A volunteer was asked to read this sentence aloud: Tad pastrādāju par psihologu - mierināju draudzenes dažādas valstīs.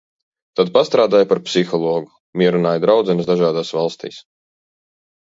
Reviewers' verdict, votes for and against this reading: accepted, 2, 0